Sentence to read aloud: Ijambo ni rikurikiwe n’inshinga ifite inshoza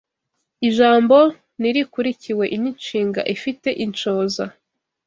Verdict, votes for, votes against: accepted, 2, 0